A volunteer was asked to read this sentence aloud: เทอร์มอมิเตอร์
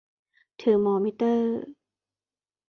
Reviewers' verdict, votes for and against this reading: accepted, 2, 0